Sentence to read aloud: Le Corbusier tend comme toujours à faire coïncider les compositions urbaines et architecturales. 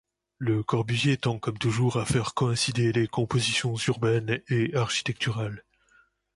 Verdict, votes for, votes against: accepted, 2, 0